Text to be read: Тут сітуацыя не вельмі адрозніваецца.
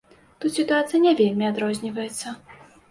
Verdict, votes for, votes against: accepted, 2, 0